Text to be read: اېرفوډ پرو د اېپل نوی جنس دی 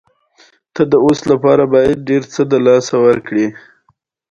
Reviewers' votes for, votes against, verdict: 2, 0, accepted